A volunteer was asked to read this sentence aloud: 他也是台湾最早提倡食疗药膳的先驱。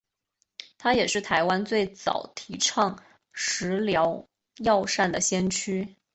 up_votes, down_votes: 2, 1